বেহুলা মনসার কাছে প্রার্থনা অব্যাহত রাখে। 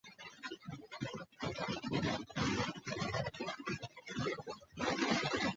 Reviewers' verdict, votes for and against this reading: rejected, 0, 2